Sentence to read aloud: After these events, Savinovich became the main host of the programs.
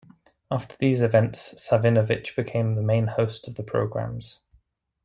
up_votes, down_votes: 2, 0